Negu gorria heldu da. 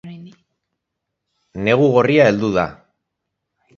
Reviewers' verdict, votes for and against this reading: rejected, 0, 2